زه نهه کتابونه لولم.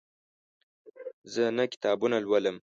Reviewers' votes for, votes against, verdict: 2, 0, accepted